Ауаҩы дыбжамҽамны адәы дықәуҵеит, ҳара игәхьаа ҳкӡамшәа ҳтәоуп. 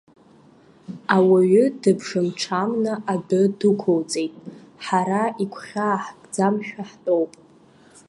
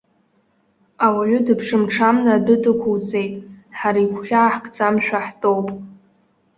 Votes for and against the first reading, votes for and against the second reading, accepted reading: 1, 2, 2, 0, second